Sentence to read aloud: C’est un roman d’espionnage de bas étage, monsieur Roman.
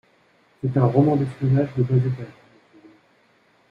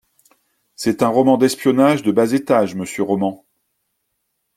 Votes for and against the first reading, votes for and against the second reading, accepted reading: 0, 2, 2, 0, second